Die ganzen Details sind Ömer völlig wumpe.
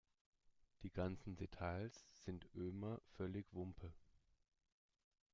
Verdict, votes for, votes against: rejected, 1, 2